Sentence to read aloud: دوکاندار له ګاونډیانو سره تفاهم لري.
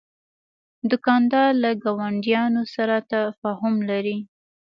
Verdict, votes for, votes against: accepted, 2, 0